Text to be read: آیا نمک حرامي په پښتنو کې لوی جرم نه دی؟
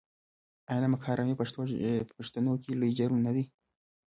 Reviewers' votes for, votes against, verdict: 2, 0, accepted